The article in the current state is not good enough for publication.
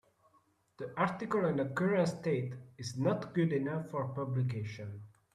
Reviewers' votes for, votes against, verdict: 1, 2, rejected